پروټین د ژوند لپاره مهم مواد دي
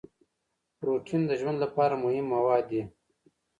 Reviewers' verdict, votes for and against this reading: accepted, 2, 0